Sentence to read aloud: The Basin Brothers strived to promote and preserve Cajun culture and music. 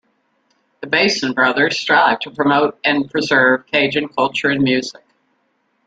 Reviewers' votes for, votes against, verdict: 2, 1, accepted